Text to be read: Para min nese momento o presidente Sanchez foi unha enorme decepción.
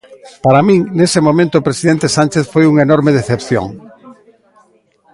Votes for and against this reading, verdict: 2, 0, accepted